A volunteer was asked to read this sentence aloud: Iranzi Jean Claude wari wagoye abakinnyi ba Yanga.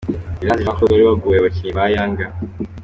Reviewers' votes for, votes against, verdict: 2, 0, accepted